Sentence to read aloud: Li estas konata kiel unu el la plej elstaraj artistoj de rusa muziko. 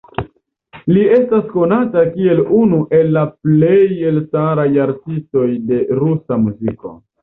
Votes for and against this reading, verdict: 2, 0, accepted